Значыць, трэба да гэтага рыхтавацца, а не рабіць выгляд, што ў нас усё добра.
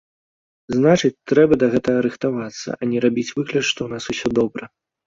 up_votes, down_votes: 1, 2